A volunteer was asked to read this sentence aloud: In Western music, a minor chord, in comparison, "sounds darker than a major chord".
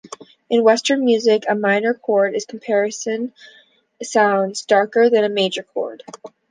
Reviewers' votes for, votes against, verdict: 0, 3, rejected